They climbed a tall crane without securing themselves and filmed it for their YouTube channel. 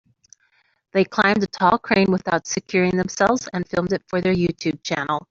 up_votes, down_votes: 3, 0